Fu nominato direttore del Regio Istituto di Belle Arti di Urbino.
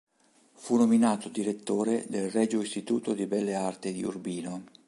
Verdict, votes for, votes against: accepted, 2, 0